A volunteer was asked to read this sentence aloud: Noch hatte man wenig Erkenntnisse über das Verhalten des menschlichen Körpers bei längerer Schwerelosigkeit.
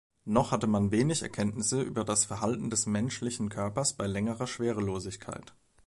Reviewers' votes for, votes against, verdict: 2, 0, accepted